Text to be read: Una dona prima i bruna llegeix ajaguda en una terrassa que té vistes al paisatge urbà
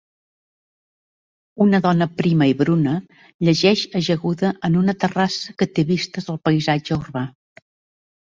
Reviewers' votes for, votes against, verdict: 2, 0, accepted